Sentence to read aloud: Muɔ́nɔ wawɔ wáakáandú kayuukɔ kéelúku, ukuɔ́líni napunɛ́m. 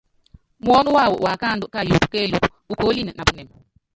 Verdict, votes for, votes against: rejected, 1, 2